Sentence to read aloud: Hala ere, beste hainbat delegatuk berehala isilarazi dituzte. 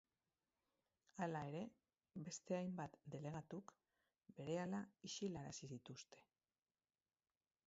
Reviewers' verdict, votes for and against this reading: rejected, 0, 6